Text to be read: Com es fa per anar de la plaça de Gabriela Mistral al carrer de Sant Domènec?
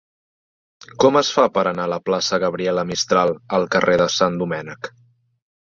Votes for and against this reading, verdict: 1, 2, rejected